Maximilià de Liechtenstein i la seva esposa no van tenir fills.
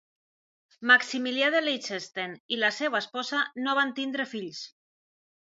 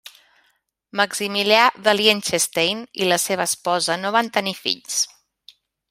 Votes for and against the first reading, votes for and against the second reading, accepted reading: 0, 2, 2, 0, second